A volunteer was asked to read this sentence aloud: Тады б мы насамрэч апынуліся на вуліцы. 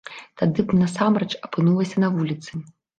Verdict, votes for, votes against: rejected, 0, 2